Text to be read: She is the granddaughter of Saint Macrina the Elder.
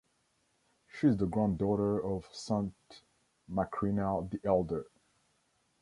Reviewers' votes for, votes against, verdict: 2, 0, accepted